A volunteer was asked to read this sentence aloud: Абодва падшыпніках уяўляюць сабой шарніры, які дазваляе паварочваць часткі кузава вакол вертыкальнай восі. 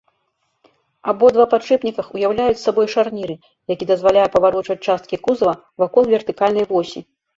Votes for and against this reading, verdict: 2, 0, accepted